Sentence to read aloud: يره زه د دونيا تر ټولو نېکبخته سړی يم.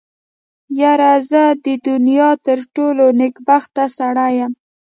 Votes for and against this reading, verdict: 2, 0, accepted